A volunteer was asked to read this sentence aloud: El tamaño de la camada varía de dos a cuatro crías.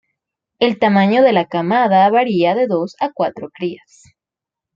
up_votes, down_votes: 2, 0